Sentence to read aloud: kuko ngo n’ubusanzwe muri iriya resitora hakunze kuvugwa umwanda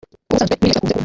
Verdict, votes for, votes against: rejected, 0, 2